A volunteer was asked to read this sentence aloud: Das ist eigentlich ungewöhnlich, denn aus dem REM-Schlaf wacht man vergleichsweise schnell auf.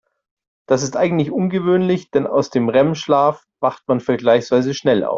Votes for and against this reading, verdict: 0, 2, rejected